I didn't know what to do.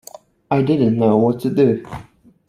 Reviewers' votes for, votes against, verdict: 2, 0, accepted